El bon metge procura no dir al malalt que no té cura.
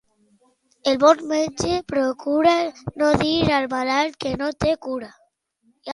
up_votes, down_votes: 2, 0